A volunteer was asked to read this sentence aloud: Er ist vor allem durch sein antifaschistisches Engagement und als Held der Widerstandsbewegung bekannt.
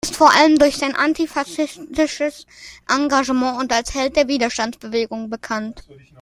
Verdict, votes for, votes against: rejected, 1, 2